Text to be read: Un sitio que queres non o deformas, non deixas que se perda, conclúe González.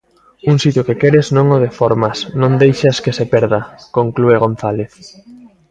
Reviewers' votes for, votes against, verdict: 0, 2, rejected